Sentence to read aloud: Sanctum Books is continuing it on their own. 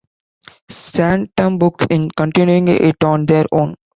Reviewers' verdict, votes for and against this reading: rejected, 0, 2